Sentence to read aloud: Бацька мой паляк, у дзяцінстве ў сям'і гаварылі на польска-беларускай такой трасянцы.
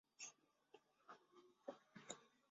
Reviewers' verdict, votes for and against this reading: rejected, 0, 2